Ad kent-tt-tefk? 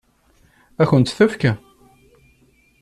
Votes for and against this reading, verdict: 2, 1, accepted